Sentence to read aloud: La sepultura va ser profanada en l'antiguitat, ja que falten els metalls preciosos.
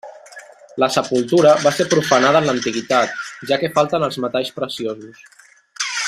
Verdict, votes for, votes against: accepted, 3, 0